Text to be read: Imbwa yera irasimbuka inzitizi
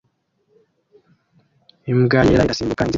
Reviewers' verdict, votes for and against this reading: rejected, 1, 2